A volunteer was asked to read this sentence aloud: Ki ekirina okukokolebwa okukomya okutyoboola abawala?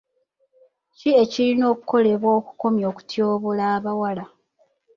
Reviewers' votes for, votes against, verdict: 2, 0, accepted